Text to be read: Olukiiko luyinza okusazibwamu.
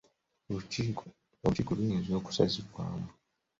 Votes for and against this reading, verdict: 1, 2, rejected